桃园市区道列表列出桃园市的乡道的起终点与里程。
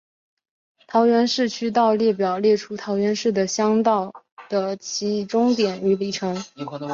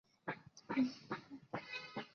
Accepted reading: first